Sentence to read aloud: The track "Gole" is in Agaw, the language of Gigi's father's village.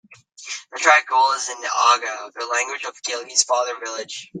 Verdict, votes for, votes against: rejected, 0, 2